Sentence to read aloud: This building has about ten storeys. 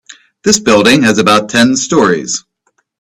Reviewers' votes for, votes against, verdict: 2, 0, accepted